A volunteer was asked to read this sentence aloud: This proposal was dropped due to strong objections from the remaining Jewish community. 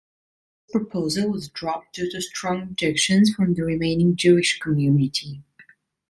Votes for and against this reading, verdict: 0, 2, rejected